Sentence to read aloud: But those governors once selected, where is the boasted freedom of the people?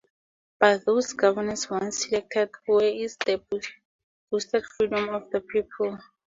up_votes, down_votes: 2, 0